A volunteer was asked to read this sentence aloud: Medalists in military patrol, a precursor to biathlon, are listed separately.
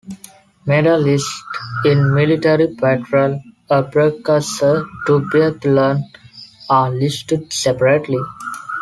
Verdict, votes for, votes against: rejected, 0, 2